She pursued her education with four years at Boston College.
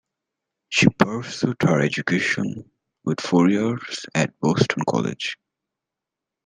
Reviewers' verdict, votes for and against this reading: accepted, 2, 0